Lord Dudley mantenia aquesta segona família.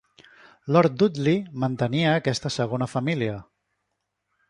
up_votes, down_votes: 2, 0